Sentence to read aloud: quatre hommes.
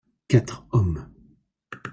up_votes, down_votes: 2, 0